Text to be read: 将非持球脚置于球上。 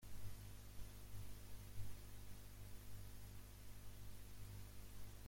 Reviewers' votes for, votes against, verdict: 0, 2, rejected